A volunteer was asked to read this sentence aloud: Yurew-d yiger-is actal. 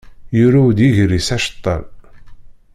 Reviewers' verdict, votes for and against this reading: rejected, 0, 2